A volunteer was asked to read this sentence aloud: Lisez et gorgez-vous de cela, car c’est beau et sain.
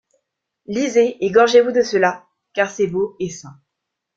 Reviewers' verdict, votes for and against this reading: accepted, 2, 0